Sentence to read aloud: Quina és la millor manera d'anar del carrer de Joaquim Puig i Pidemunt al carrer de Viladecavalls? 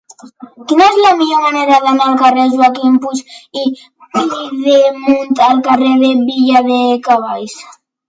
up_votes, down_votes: 2, 0